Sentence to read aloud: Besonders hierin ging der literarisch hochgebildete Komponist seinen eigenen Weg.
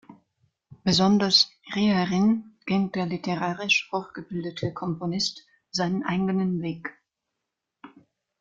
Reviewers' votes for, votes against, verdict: 2, 3, rejected